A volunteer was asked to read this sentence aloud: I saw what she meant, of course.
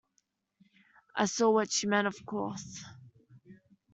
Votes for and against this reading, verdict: 2, 0, accepted